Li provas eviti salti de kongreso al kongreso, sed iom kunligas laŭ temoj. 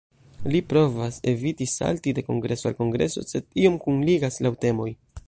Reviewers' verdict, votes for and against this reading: rejected, 1, 2